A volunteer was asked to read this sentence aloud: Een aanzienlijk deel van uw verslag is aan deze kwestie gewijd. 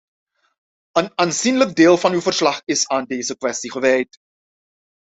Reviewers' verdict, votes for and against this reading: accepted, 2, 0